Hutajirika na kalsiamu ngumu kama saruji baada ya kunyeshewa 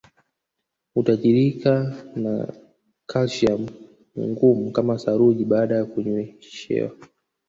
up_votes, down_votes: 1, 2